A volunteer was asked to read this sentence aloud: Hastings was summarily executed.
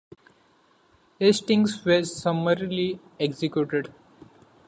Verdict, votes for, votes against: rejected, 0, 2